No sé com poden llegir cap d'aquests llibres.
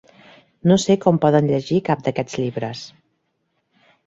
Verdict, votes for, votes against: accepted, 4, 0